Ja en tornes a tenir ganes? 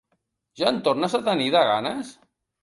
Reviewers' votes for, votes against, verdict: 0, 2, rejected